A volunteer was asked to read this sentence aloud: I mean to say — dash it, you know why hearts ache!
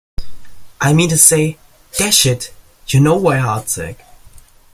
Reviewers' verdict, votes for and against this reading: accepted, 2, 0